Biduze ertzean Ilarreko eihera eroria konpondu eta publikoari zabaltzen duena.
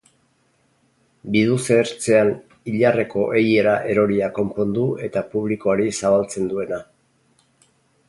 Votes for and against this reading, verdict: 6, 0, accepted